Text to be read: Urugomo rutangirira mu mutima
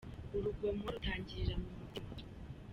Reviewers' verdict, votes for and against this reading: rejected, 1, 2